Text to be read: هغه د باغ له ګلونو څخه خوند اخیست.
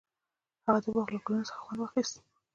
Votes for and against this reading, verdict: 0, 2, rejected